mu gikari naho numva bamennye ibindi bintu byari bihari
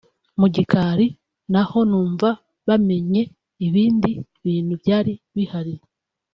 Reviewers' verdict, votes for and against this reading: rejected, 0, 2